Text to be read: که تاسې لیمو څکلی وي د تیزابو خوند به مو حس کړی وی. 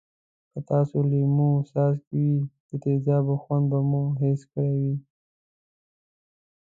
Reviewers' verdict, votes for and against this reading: rejected, 1, 2